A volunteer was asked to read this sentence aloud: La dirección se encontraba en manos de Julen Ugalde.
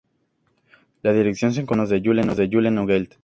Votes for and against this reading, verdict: 2, 0, accepted